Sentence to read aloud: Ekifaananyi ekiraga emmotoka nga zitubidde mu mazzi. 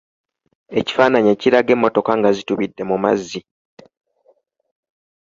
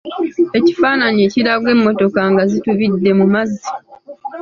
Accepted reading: first